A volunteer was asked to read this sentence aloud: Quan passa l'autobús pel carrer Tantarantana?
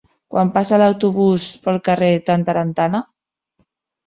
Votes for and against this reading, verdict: 1, 2, rejected